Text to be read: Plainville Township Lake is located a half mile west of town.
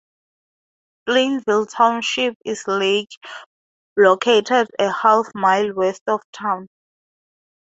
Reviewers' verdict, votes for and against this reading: rejected, 0, 2